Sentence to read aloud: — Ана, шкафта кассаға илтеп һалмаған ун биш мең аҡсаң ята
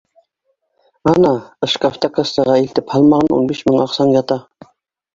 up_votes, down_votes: 0, 2